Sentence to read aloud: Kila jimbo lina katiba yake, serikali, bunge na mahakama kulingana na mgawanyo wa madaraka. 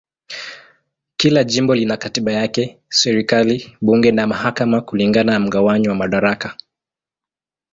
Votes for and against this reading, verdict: 2, 0, accepted